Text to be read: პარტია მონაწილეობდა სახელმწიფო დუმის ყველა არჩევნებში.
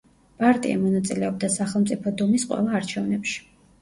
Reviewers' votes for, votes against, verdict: 1, 2, rejected